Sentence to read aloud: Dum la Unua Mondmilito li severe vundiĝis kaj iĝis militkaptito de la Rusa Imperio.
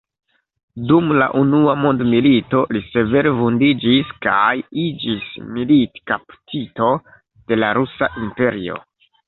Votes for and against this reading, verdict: 1, 2, rejected